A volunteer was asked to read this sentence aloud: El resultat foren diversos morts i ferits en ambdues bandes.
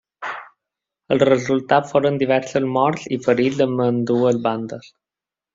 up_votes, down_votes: 2, 0